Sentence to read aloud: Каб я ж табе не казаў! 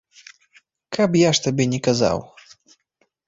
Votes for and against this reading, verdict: 2, 0, accepted